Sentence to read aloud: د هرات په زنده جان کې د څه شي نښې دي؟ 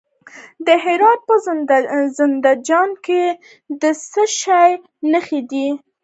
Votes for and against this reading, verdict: 2, 0, accepted